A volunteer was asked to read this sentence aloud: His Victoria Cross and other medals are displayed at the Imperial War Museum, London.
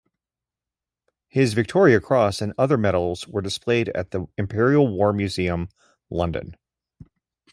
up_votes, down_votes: 0, 2